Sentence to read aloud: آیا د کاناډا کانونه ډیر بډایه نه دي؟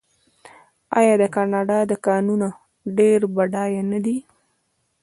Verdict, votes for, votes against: rejected, 0, 2